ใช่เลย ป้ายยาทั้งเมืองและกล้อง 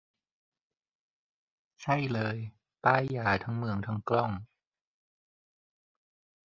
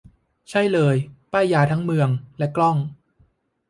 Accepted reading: second